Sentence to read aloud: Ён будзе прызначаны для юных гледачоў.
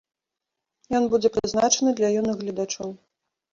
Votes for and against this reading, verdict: 2, 0, accepted